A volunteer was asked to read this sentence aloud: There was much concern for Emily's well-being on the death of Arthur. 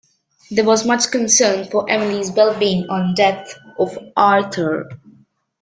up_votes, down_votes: 3, 0